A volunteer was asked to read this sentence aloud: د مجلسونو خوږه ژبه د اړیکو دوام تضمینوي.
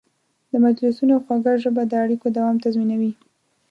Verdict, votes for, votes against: accepted, 2, 0